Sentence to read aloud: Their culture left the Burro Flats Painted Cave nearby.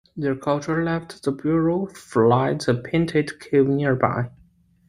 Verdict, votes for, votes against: rejected, 0, 2